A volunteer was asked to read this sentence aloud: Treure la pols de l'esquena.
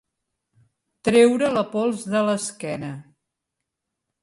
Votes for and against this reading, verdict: 3, 0, accepted